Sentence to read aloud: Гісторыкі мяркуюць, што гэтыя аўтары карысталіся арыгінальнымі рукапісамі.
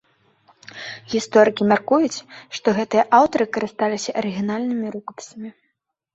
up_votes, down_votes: 2, 0